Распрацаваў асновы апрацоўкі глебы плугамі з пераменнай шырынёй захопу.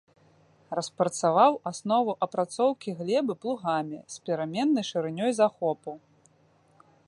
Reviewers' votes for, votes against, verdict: 2, 0, accepted